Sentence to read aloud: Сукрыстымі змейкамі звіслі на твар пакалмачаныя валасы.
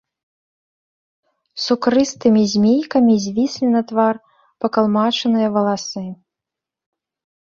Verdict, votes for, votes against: accepted, 2, 0